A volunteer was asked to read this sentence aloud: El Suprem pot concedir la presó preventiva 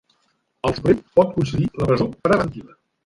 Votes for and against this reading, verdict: 1, 2, rejected